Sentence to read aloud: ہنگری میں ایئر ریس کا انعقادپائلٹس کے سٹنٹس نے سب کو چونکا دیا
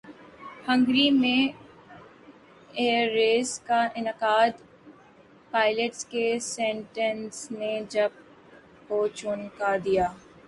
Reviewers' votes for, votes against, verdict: 2, 8, rejected